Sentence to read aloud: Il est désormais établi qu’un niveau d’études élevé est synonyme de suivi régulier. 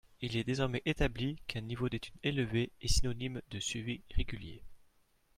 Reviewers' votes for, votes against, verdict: 2, 0, accepted